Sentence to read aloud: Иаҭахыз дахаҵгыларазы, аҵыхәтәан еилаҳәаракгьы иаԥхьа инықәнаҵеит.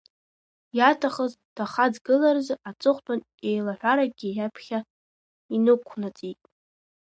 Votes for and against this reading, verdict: 1, 2, rejected